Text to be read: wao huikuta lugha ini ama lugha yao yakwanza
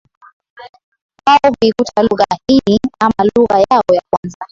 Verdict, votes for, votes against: rejected, 0, 2